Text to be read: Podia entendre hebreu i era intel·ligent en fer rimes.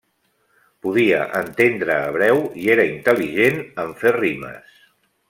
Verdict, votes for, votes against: accepted, 2, 0